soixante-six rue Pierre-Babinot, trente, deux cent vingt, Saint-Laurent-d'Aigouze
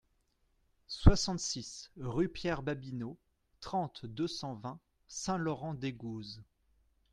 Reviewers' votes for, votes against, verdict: 2, 0, accepted